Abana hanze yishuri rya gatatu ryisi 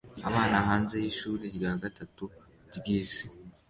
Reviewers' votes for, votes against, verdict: 2, 1, accepted